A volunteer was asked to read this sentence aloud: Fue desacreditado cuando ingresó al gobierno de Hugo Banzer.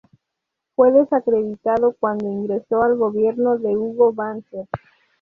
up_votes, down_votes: 2, 0